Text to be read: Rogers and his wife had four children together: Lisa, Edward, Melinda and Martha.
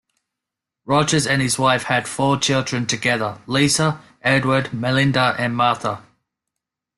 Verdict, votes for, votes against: accepted, 2, 0